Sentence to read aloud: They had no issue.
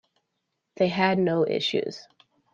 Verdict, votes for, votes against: rejected, 1, 2